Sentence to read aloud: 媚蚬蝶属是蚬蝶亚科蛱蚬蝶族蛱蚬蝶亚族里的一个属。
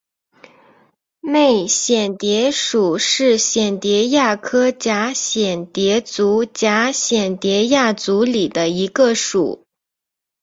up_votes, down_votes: 2, 1